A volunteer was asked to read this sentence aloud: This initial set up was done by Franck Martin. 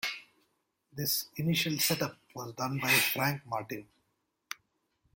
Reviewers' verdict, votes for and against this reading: accepted, 2, 0